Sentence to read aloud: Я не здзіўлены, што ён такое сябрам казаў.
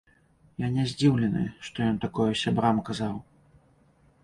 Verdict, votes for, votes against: accepted, 2, 0